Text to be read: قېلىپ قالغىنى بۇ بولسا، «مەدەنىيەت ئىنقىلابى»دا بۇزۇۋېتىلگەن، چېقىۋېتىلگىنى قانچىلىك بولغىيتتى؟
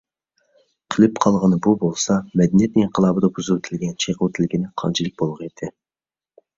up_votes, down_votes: 2, 0